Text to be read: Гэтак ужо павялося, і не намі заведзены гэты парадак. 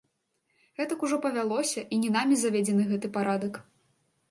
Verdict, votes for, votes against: rejected, 1, 2